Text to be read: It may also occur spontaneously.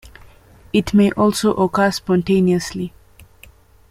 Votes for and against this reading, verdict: 2, 0, accepted